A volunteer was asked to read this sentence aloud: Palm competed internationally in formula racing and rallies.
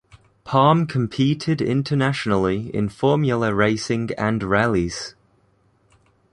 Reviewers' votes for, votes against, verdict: 2, 0, accepted